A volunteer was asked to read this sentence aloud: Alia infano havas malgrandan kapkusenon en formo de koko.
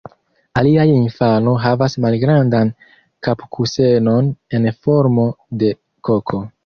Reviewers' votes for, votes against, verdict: 2, 1, accepted